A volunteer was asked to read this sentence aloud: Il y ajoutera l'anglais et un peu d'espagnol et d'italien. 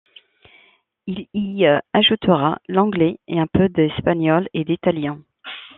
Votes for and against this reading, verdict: 2, 1, accepted